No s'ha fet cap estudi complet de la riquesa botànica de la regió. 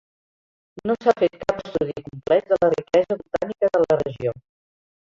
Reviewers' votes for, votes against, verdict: 1, 2, rejected